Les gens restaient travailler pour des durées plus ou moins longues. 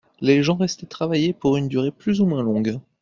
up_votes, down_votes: 0, 2